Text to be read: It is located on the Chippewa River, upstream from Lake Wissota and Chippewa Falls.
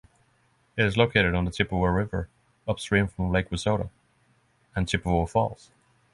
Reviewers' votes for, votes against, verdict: 6, 0, accepted